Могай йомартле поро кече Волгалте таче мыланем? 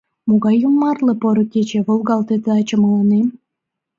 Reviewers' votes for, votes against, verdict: 2, 0, accepted